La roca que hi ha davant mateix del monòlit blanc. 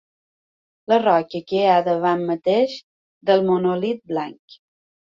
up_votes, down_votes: 2, 0